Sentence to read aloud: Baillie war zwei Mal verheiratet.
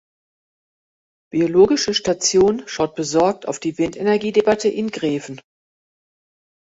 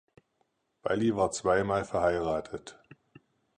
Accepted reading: second